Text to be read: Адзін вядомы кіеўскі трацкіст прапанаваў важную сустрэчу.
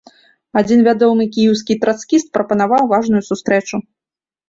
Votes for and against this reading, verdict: 2, 0, accepted